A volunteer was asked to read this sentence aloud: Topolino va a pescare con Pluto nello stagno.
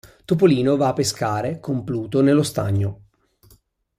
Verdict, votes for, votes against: accepted, 2, 0